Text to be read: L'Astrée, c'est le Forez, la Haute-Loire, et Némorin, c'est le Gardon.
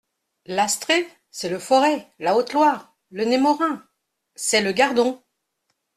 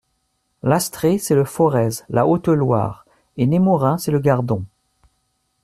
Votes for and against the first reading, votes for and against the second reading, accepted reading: 1, 2, 2, 0, second